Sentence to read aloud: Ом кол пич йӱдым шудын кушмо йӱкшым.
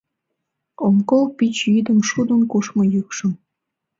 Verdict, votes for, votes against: accepted, 2, 0